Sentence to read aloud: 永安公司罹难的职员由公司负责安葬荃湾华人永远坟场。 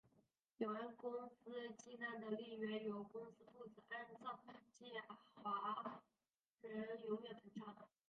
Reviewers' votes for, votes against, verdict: 0, 2, rejected